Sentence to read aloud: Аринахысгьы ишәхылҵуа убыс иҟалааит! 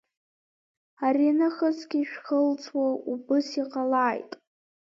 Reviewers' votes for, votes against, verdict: 2, 1, accepted